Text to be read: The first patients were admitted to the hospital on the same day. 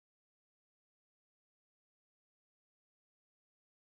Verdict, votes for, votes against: rejected, 0, 2